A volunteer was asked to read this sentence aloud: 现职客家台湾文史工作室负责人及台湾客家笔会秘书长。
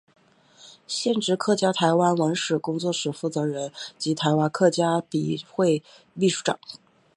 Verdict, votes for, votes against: accepted, 2, 0